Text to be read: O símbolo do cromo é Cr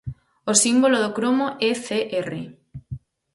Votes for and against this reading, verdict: 4, 0, accepted